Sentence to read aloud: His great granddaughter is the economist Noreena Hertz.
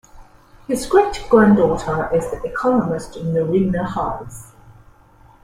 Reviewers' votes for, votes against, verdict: 2, 1, accepted